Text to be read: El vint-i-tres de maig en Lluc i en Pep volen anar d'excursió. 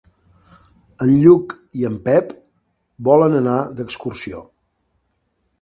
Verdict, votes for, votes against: rejected, 1, 2